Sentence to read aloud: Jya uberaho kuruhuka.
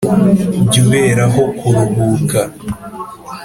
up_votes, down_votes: 2, 1